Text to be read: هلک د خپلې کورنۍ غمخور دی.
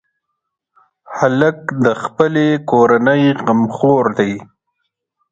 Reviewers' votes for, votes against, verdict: 2, 0, accepted